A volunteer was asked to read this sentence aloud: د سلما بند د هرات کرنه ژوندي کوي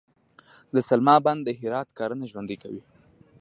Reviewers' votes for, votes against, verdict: 2, 0, accepted